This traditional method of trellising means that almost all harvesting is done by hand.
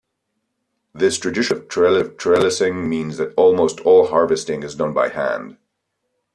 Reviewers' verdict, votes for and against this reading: rejected, 0, 2